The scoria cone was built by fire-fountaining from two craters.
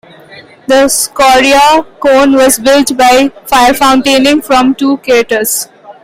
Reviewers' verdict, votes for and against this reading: accepted, 2, 1